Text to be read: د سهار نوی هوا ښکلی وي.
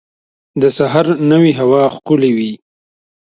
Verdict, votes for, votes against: accepted, 2, 1